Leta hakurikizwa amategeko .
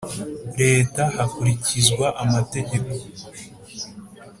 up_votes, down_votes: 4, 0